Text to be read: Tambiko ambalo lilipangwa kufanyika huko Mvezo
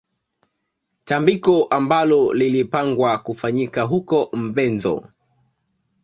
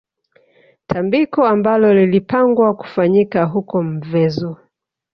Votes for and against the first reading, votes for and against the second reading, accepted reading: 2, 0, 1, 2, first